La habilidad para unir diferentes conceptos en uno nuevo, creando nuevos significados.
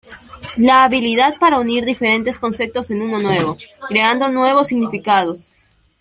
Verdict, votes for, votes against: accepted, 2, 0